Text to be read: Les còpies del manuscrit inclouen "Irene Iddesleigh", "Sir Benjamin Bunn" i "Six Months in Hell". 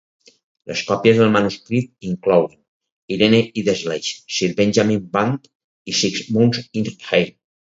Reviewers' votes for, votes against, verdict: 2, 4, rejected